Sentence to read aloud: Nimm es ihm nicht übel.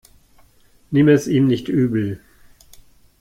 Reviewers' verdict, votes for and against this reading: accepted, 2, 1